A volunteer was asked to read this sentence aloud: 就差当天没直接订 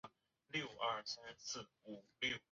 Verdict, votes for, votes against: rejected, 0, 2